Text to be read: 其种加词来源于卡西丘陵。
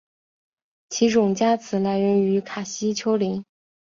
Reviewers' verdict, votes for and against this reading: accepted, 4, 0